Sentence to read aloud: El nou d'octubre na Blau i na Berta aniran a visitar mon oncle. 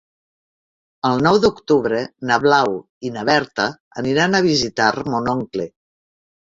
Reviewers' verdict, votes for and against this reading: rejected, 0, 3